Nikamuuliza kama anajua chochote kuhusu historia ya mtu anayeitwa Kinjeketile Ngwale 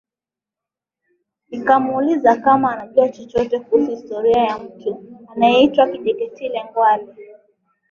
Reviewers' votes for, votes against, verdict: 3, 1, accepted